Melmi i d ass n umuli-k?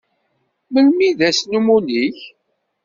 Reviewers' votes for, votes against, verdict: 2, 0, accepted